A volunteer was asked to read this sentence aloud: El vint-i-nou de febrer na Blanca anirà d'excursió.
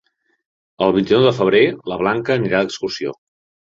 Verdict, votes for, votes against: rejected, 1, 2